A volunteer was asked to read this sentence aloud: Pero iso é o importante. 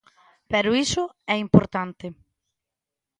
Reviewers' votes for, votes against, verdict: 0, 2, rejected